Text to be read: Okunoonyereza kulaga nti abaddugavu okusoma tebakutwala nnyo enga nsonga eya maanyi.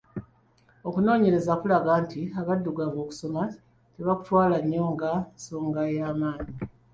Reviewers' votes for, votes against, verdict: 2, 0, accepted